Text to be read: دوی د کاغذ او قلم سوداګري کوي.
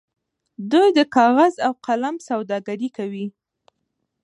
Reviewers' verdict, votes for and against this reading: accepted, 2, 0